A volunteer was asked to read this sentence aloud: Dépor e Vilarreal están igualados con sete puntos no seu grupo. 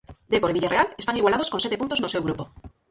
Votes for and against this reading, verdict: 0, 4, rejected